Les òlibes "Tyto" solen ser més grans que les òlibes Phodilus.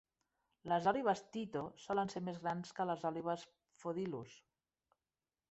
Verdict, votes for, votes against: accepted, 2, 1